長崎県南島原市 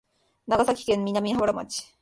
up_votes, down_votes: 2, 3